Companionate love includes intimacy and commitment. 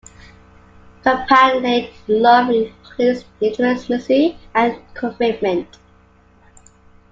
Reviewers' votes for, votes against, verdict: 0, 2, rejected